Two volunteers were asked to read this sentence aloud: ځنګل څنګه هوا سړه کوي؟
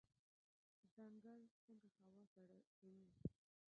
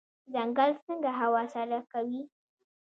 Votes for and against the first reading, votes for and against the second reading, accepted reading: 0, 2, 2, 0, second